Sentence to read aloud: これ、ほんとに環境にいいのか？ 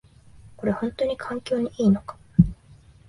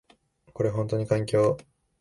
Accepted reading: first